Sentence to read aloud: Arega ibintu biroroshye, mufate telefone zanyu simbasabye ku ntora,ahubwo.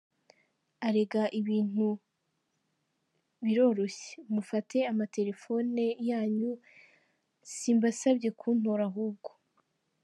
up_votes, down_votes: 0, 3